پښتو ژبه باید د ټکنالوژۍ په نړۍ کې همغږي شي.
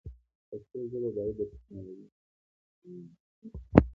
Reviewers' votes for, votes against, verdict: 2, 0, accepted